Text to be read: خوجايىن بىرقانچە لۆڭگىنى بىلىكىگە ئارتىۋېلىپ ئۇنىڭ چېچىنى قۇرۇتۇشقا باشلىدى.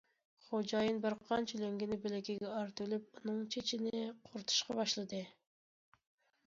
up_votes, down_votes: 2, 0